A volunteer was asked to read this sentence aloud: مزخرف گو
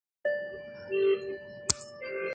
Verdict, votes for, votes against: rejected, 0, 2